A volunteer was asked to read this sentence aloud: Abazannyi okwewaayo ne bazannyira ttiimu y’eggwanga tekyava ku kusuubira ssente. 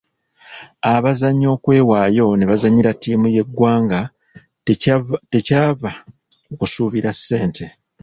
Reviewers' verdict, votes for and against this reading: rejected, 0, 2